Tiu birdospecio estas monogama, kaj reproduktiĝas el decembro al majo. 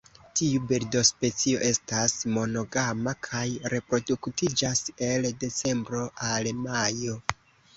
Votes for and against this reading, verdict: 1, 2, rejected